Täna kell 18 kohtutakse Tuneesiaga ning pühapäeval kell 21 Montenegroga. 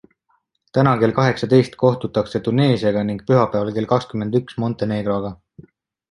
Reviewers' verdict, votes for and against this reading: rejected, 0, 2